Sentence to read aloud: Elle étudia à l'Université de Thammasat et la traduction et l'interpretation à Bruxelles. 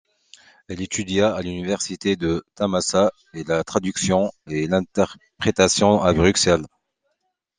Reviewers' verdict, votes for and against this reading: accepted, 2, 1